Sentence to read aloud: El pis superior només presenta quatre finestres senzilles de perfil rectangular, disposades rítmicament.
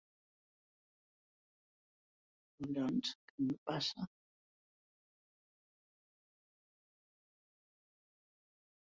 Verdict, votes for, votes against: rejected, 0, 2